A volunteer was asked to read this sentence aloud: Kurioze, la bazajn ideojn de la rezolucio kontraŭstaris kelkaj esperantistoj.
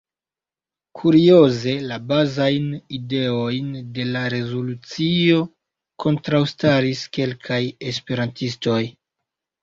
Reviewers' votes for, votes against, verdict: 1, 2, rejected